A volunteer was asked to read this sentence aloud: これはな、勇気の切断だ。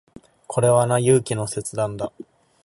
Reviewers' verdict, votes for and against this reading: accepted, 2, 0